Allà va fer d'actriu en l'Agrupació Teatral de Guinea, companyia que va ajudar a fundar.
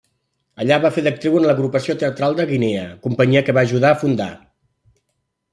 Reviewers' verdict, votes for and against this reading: accepted, 3, 0